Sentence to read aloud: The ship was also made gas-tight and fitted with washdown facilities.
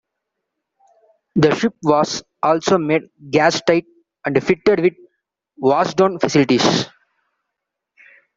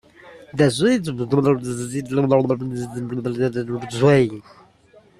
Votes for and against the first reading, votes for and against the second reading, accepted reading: 2, 1, 0, 2, first